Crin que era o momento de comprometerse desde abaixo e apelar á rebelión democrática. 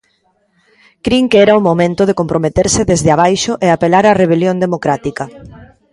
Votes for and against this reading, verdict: 0, 2, rejected